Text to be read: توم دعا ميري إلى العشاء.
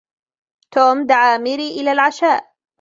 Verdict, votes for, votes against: accepted, 2, 1